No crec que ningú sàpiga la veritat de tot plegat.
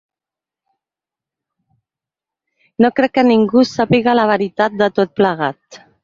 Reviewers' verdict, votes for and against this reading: accepted, 8, 0